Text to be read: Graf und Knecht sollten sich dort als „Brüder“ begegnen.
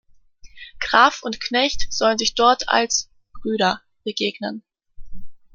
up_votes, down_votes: 0, 2